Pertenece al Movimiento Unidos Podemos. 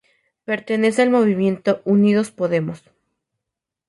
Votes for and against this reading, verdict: 4, 0, accepted